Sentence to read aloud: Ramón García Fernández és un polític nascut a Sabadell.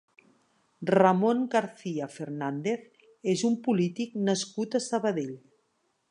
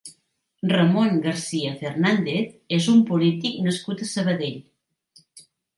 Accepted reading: second